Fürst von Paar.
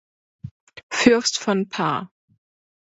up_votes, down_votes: 2, 0